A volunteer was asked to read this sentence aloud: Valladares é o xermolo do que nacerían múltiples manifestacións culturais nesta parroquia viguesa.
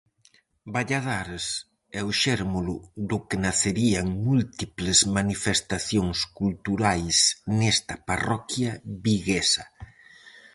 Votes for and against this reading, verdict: 0, 4, rejected